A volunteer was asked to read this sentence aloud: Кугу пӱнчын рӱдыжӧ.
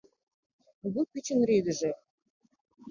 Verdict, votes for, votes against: rejected, 0, 2